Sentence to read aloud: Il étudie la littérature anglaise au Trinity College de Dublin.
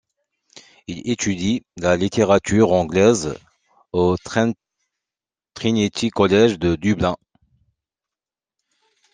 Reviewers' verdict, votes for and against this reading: rejected, 1, 2